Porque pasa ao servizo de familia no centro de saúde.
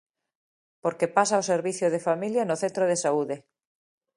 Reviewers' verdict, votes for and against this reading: accepted, 2, 0